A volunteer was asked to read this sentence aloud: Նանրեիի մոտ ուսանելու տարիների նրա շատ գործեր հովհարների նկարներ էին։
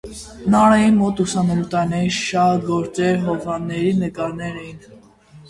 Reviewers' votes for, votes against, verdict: 0, 2, rejected